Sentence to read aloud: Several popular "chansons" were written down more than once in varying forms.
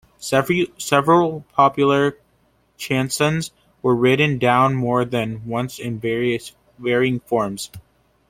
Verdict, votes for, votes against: rejected, 0, 2